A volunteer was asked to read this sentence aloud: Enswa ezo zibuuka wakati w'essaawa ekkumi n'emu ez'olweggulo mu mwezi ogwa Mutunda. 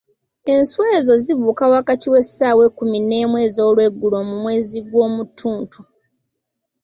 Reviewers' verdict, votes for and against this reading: rejected, 0, 2